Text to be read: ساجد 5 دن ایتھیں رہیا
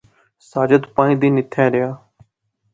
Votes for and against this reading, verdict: 0, 2, rejected